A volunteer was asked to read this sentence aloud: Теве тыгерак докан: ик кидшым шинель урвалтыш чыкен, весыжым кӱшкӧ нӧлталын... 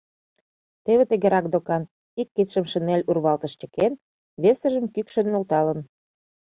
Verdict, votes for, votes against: rejected, 0, 2